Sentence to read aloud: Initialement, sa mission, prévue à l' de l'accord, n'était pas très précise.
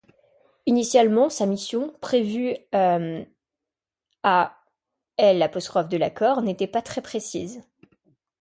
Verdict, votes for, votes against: rejected, 0, 2